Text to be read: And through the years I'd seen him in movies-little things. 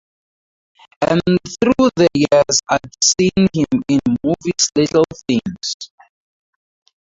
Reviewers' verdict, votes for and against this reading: rejected, 0, 2